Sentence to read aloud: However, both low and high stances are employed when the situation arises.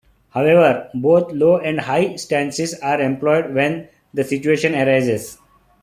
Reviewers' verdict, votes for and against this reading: accepted, 2, 0